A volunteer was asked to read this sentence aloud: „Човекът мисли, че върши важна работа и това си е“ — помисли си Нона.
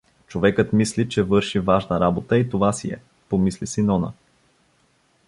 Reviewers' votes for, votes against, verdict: 2, 0, accepted